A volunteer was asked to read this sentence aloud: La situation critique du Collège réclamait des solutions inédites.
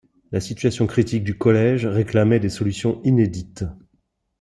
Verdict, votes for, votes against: accepted, 2, 0